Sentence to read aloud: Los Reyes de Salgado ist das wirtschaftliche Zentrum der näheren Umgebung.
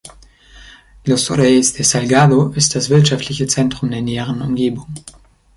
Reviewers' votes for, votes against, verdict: 2, 0, accepted